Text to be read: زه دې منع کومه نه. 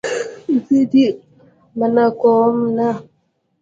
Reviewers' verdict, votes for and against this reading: rejected, 0, 2